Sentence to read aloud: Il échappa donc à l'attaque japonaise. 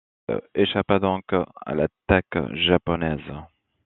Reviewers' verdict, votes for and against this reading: rejected, 0, 2